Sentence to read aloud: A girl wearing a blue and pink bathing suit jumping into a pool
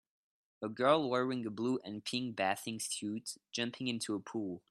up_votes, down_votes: 1, 2